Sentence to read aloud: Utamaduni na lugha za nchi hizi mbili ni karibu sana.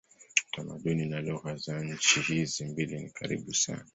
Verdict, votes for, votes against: rejected, 1, 5